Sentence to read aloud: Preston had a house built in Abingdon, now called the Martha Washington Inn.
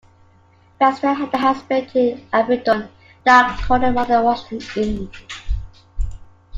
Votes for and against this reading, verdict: 0, 2, rejected